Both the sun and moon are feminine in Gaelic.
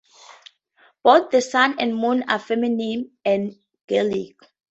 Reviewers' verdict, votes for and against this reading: accepted, 6, 4